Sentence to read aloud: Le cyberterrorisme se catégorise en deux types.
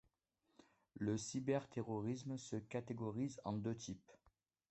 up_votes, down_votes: 2, 1